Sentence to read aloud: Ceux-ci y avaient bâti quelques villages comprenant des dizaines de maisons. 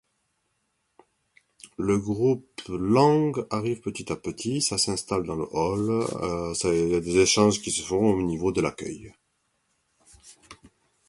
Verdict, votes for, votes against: rejected, 0, 2